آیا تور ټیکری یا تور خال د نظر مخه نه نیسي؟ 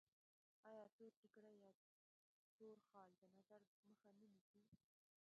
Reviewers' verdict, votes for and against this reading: rejected, 0, 2